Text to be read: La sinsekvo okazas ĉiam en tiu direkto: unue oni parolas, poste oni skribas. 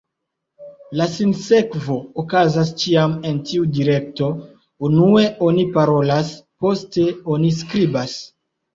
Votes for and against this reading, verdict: 2, 0, accepted